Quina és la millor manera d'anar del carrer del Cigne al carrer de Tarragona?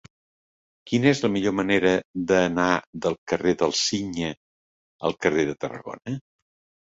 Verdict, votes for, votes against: accepted, 2, 0